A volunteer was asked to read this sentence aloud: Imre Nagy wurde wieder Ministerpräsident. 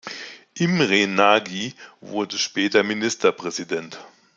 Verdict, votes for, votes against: rejected, 0, 2